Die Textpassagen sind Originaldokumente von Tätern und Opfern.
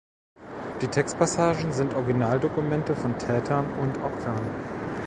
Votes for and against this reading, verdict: 1, 2, rejected